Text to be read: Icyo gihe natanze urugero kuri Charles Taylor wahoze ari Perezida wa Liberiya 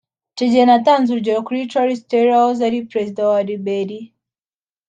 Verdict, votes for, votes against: accepted, 2, 0